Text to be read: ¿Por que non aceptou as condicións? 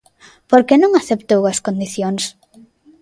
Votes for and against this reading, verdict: 2, 0, accepted